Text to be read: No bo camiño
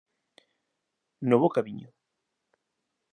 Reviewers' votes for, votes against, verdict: 2, 0, accepted